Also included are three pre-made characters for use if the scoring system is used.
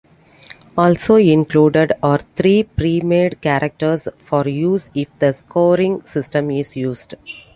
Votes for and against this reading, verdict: 2, 0, accepted